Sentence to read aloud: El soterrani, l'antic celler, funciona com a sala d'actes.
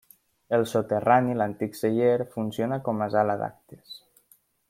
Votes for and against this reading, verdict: 2, 1, accepted